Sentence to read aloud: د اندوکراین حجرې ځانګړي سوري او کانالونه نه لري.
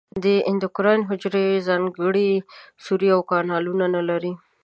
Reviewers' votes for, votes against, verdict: 2, 0, accepted